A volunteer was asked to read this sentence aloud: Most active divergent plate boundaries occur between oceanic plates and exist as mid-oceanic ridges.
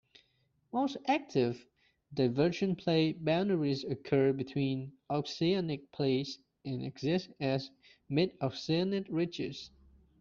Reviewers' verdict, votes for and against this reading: rejected, 1, 2